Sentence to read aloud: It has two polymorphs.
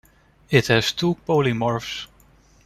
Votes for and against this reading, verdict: 2, 1, accepted